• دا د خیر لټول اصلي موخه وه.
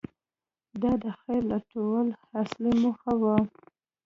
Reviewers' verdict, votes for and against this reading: rejected, 1, 2